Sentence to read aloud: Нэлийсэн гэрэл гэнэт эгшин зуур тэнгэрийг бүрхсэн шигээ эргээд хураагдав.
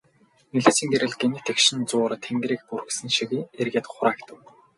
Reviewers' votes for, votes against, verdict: 0, 2, rejected